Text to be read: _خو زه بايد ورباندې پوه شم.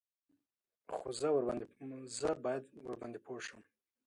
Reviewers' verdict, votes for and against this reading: rejected, 1, 2